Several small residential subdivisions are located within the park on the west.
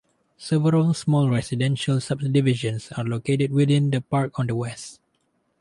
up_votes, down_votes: 2, 0